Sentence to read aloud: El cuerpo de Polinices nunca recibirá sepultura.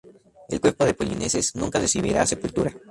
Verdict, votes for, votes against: rejected, 0, 2